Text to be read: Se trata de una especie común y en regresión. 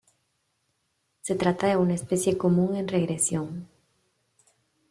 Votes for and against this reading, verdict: 0, 2, rejected